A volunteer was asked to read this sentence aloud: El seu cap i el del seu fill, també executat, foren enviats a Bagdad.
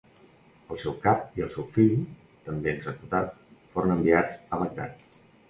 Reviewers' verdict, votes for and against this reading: rejected, 1, 2